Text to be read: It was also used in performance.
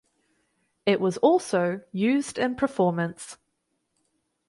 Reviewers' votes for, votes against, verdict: 6, 0, accepted